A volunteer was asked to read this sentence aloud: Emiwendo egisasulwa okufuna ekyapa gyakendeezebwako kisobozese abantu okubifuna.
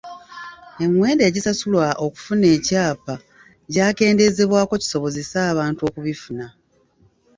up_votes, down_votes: 0, 2